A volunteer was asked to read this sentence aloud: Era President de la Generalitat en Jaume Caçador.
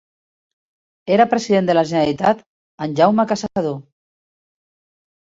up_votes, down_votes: 1, 2